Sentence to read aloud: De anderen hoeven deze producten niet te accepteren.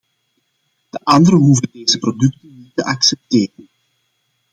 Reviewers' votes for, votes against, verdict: 1, 2, rejected